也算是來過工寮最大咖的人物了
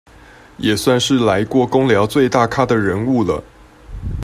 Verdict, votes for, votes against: accepted, 2, 0